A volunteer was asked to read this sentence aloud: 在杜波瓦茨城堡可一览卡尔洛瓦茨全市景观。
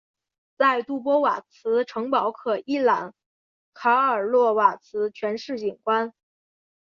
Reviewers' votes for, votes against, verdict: 2, 0, accepted